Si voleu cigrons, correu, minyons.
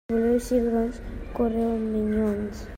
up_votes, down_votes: 1, 2